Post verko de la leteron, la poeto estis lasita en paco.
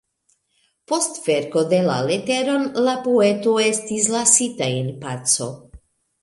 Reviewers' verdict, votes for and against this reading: accepted, 3, 0